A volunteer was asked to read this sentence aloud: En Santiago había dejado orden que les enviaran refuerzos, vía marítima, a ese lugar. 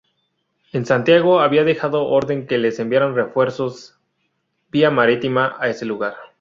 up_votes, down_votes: 2, 0